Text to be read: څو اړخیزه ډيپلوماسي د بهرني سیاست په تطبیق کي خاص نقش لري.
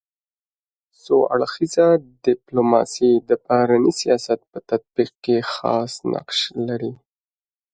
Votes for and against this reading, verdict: 2, 0, accepted